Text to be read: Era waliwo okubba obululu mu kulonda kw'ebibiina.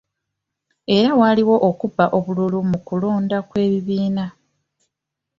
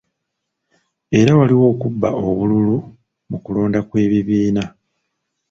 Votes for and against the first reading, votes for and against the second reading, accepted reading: 2, 0, 1, 2, first